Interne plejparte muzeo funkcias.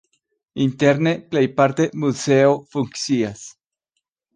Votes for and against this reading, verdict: 2, 0, accepted